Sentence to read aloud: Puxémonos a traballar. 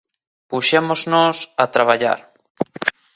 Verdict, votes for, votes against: rejected, 0, 2